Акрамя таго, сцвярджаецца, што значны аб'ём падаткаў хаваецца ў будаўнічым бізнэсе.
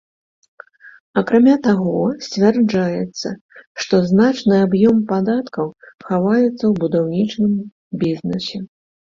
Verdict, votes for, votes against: accepted, 2, 0